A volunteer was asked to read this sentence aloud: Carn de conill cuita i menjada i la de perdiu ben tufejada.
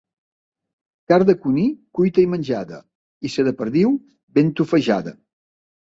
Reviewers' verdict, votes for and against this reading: rejected, 0, 2